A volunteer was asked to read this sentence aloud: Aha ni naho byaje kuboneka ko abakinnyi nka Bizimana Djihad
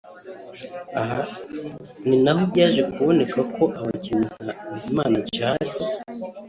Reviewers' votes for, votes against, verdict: 2, 0, accepted